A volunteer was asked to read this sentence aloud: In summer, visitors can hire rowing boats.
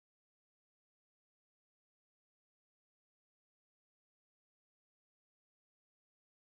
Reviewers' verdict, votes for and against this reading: rejected, 0, 2